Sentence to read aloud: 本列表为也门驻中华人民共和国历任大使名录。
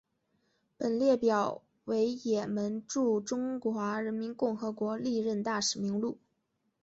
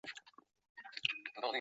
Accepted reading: first